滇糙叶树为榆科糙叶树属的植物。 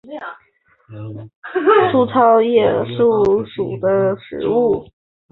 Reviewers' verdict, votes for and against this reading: rejected, 0, 3